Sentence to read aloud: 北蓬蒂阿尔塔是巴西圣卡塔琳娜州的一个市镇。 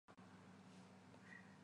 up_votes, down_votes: 2, 0